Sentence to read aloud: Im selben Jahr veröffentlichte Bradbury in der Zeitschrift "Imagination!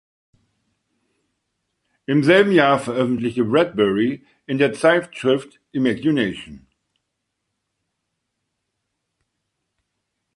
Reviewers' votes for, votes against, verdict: 2, 0, accepted